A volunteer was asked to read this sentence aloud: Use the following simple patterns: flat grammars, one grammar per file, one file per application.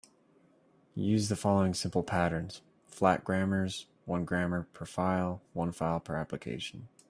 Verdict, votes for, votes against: accepted, 2, 0